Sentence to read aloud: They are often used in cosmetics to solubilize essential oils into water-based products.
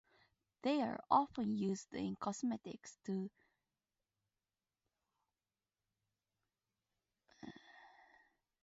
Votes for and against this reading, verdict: 0, 4, rejected